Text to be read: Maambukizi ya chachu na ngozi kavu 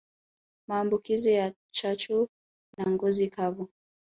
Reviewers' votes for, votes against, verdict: 2, 0, accepted